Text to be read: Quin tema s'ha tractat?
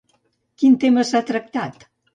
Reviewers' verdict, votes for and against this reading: accepted, 2, 0